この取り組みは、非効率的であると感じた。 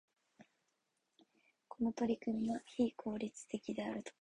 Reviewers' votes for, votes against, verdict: 1, 4, rejected